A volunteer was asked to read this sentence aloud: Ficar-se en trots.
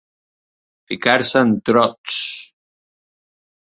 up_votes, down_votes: 2, 0